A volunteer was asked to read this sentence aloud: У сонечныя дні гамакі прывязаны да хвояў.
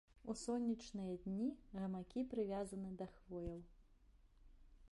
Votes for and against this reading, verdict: 0, 2, rejected